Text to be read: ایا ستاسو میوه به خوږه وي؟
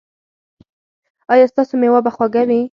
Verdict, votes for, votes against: accepted, 4, 0